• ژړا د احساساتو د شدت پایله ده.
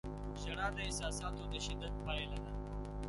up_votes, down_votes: 2, 1